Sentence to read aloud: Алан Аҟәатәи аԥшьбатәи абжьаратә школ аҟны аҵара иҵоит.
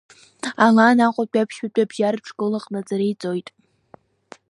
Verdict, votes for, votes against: rejected, 1, 2